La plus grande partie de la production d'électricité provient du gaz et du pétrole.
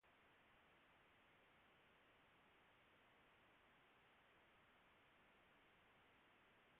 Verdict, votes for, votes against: rejected, 0, 2